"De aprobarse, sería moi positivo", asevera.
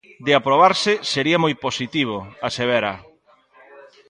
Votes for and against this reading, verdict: 1, 2, rejected